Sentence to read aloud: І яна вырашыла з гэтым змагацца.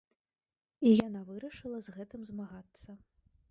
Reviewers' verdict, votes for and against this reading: rejected, 1, 3